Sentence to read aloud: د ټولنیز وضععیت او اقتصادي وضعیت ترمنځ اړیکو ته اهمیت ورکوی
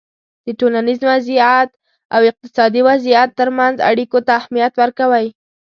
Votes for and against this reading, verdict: 2, 0, accepted